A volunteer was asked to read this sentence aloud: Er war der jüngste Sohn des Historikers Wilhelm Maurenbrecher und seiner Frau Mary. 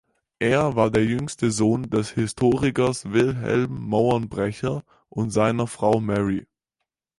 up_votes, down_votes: 0, 4